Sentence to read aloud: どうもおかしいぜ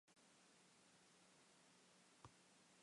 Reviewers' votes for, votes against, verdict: 0, 3, rejected